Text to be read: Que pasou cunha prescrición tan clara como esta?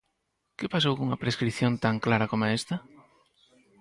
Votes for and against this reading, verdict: 4, 2, accepted